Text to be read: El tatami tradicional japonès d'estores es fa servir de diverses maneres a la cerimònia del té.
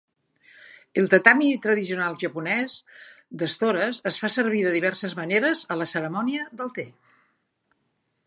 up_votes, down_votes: 3, 0